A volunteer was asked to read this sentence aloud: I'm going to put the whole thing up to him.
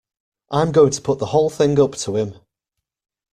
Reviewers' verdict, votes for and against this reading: accepted, 2, 0